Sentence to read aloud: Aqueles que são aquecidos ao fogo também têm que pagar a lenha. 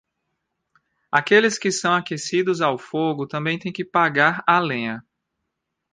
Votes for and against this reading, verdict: 2, 0, accepted